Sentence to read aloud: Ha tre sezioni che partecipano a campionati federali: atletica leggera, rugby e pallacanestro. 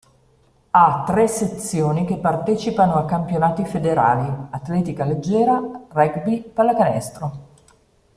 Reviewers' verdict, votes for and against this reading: rejected, 0, 2